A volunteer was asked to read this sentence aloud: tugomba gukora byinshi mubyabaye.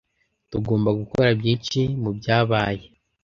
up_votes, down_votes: 2, 0